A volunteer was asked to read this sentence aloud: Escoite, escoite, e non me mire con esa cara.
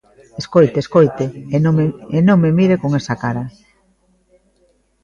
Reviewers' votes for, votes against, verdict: 0, 2, rejected